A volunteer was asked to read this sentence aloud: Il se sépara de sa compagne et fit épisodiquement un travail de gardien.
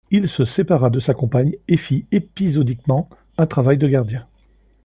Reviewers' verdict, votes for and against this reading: accepted, 2, 0